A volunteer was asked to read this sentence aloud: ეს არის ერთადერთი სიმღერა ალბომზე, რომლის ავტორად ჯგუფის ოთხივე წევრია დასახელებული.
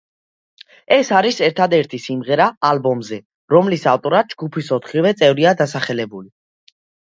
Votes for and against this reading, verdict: 2, 0, accepted